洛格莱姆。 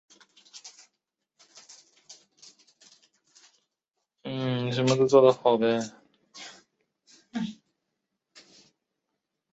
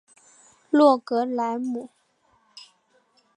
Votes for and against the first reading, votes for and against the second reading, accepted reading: 1, 2, 5, 0, second